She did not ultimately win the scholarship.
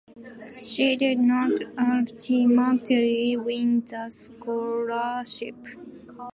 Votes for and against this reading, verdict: 0, 2, rejected